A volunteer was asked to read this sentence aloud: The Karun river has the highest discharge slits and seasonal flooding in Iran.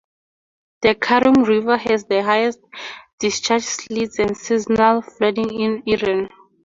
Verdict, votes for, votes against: rejected, 2, 2